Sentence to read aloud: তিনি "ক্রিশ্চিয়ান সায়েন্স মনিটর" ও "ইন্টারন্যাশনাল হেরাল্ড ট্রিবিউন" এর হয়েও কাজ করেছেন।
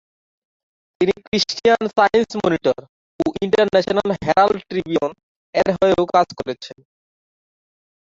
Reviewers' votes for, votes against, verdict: 1, 2, rejected